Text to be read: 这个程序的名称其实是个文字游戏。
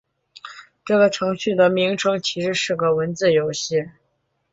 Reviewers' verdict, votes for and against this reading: accepted, 4, 2